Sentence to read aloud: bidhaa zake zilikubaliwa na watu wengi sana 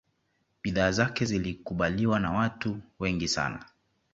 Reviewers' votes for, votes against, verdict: 2, 1, accepted